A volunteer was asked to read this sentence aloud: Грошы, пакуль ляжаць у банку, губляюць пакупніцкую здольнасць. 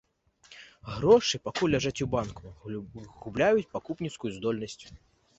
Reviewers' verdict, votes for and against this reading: rejected, 0, 2